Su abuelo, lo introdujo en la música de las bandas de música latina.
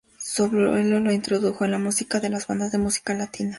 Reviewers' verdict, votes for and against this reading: accepted, 2, 0